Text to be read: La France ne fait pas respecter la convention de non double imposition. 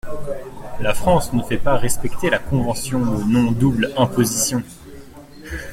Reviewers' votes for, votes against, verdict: 1, 2, rejected